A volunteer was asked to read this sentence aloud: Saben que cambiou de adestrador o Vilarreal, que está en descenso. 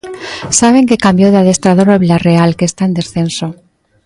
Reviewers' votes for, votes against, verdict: 2, 0, accepted